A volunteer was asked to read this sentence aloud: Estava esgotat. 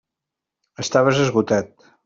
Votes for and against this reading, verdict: 0, 2, rejected